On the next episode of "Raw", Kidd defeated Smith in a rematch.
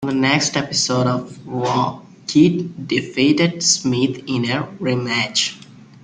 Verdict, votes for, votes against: accepted, 3, 0